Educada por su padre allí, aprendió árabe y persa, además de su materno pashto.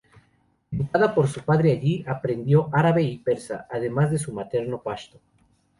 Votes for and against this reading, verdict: 0, 2, rejected